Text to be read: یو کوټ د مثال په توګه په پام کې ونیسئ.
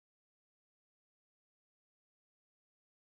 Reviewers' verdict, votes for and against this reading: rejected, 1, 2